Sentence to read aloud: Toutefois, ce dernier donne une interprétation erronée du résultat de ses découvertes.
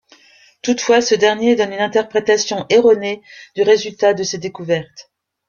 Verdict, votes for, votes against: accepted, 3, 0